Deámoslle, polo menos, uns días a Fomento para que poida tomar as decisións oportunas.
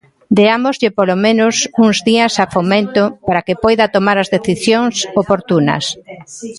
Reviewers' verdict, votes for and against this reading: rejected, 0, 2